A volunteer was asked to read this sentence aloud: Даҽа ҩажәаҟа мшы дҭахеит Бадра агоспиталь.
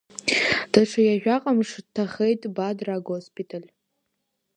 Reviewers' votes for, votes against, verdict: 2, 1, accepted